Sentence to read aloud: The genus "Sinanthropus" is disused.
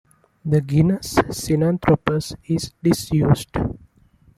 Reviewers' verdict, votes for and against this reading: accepted, 2, 0